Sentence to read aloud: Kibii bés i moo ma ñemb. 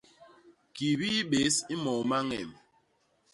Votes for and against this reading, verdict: 2, 0, accepted